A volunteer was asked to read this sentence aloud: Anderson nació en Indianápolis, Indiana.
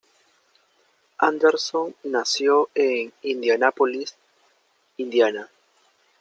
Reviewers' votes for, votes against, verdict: 0, 2, rejected